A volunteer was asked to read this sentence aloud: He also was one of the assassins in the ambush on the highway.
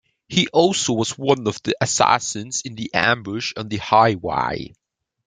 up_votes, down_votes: 0, 2